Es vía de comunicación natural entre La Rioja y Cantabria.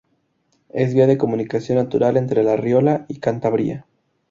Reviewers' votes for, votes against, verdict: 0, 2, rejected